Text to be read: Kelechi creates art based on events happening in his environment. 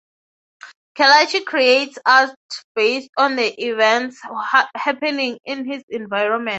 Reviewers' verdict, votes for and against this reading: rejected, 0, 3